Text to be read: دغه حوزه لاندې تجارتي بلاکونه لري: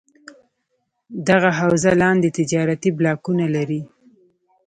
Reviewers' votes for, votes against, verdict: 2, 1, accepted